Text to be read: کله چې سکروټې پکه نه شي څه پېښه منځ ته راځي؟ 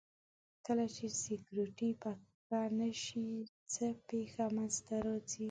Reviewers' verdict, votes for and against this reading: rejected, 0, 2